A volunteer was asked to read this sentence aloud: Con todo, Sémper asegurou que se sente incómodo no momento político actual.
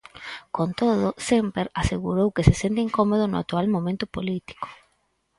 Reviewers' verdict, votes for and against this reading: rejected, 0, 4